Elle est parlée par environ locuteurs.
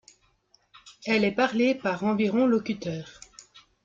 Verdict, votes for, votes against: accepted, 2, 0